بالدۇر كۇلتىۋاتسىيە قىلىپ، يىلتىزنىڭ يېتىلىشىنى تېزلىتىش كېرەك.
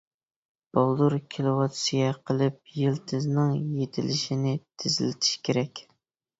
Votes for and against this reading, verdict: 0, 2, rejected